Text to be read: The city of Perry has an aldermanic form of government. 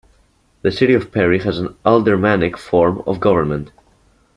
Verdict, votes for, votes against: accepted, 2, 0